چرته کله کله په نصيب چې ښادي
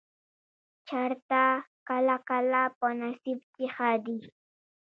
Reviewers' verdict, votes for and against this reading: rejected, 1, 2